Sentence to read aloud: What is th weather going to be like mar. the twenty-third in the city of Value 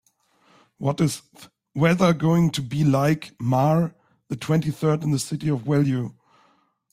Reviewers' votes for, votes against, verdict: 2, 0, accepted